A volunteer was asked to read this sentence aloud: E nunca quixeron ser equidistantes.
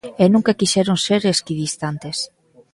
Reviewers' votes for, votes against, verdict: 0, 2, rejected